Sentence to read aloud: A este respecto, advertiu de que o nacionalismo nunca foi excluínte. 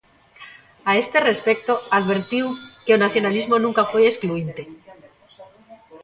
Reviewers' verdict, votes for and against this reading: rejected, 1, 2